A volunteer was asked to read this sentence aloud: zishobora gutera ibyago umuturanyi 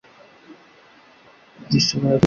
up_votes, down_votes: 0, 2